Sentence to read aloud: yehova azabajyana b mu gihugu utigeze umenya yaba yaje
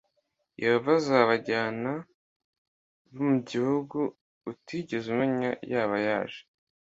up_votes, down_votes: 2, 0